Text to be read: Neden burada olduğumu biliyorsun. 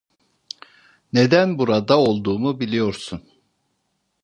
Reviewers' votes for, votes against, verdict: 2, 0, accepted